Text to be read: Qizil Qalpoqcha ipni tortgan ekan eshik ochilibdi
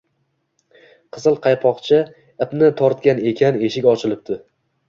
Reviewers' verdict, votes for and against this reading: accepted, 2, 0